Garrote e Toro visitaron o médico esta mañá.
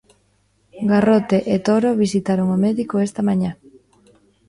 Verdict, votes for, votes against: accepted, 2, 0